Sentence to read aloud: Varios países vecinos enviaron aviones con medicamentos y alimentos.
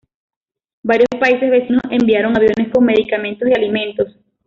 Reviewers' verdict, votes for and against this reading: accepted, 2, 0